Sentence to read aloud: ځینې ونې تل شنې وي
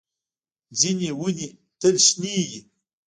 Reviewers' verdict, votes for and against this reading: rejected, 1, 2